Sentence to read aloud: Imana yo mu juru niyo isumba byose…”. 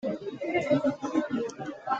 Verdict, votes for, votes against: rejected, 0, 3